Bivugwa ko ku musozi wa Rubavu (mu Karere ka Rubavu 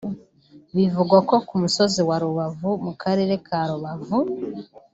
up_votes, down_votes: 0, 2